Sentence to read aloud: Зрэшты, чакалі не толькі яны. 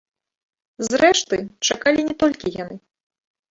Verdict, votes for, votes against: rejected, 0, 2